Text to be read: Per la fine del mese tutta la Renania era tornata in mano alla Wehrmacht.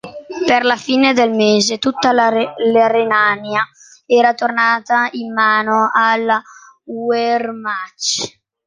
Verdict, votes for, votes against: rejected, 0, 2